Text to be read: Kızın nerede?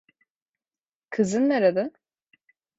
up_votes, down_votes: 2, 0